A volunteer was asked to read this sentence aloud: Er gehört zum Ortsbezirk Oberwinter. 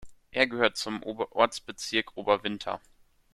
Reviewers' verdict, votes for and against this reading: rejected, 0, 2